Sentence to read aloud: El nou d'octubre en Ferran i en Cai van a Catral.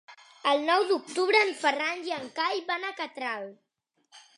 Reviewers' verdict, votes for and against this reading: accepted, 3, 0